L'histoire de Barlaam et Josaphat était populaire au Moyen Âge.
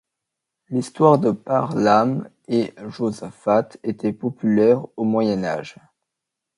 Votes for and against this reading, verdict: 1, 2, rejected